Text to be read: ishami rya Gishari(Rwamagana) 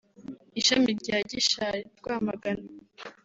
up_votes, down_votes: 2, 0